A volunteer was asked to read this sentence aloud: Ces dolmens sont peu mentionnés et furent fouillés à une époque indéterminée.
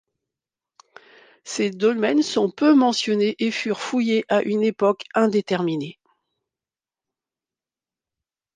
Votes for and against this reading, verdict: 2, 0, accepted